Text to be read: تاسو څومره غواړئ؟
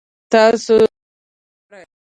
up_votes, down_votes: 2, 3